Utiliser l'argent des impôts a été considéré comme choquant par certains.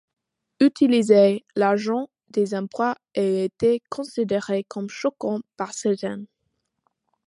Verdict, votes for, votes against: rejected, 1, 2